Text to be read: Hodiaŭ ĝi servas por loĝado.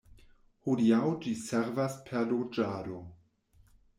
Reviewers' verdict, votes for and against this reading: accepted, 2, 0